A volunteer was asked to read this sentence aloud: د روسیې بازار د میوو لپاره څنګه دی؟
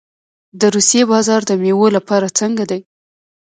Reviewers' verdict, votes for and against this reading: rejected, 1, 2